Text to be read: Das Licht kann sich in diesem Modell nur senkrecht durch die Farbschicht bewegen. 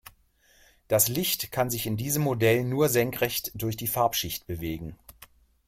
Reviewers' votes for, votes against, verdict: 2, 0, accepted